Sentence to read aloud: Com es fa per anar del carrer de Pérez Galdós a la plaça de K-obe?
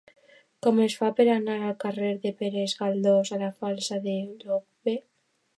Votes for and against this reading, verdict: 0, 2, rejected